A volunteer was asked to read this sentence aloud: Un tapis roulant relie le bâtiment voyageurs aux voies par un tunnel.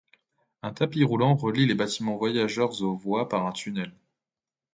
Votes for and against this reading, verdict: 0, 2, rejected